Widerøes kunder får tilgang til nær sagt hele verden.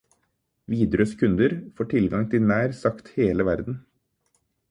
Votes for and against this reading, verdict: 4, 0, accepted